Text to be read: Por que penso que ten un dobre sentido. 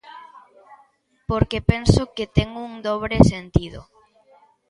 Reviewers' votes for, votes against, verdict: 3, 0, accepted